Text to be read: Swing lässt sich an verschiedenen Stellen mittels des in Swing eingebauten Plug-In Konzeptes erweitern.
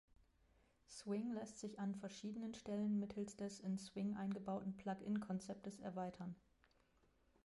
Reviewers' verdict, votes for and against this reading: rejected, 1, 2